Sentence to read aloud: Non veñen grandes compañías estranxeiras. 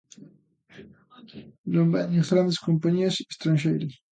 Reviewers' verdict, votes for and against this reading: accepted, 2, 0